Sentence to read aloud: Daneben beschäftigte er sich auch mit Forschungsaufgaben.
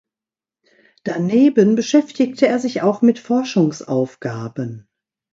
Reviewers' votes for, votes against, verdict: 2, 0, accepted